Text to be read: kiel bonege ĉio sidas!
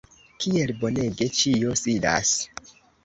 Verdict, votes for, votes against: accepted, 2, 0